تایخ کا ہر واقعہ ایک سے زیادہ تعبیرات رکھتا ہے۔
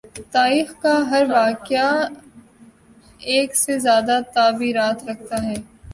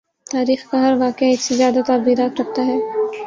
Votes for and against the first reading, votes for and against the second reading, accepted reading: 2, 1, 2, 2, first